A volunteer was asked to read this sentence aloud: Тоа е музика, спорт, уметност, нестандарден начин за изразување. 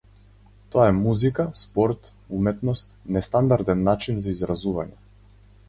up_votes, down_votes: 2, 0